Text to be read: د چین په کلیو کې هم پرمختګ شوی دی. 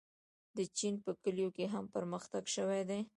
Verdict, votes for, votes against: rejected, 0, 2